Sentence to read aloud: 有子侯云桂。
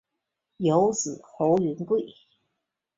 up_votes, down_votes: 4, 0